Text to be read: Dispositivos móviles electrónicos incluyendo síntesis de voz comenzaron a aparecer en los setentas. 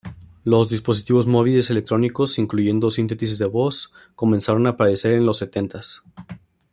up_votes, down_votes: 0, 3